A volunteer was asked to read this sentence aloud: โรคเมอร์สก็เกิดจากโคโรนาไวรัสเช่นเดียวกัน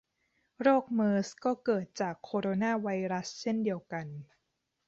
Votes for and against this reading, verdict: 2, 0, accepted